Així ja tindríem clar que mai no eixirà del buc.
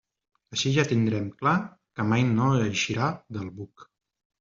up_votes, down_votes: 1, 2